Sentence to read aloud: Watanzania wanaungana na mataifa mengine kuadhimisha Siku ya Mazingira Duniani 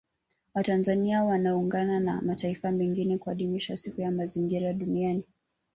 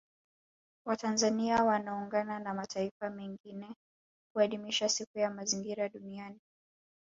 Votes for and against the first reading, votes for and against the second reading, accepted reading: 2, 1, 1, 2, first